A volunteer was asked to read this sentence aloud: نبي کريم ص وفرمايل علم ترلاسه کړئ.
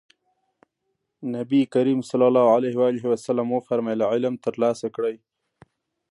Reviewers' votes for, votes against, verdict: 2, 0, accepted